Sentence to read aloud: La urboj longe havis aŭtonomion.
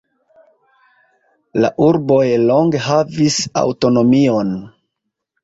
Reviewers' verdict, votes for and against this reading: accepted, 2, 0